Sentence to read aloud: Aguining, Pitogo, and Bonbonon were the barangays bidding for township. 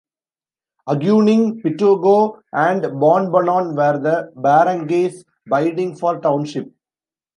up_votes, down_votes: 1, 2